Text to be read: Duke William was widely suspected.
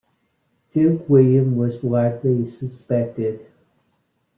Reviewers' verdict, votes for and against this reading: rejected, 1, 2